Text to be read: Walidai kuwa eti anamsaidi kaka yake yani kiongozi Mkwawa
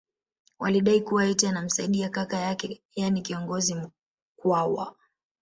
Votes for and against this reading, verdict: 2, 0, accepted